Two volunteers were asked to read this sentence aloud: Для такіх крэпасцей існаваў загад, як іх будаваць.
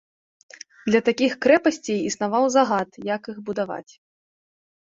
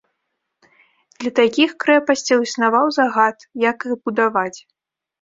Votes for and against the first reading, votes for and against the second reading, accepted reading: 2, 0, 0, 2, first